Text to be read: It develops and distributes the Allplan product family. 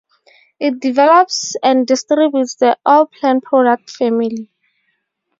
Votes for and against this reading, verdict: 4, 0, accepted